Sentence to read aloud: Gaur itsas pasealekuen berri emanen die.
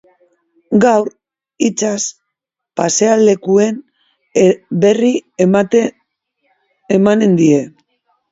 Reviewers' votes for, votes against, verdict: 1, 3, rejected